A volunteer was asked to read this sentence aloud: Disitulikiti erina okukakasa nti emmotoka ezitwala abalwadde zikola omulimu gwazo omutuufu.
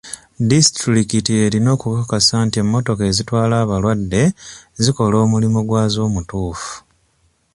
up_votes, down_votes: 2, 0